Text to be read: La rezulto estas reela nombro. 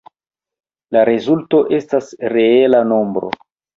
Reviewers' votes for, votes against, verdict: 0, 2, rejected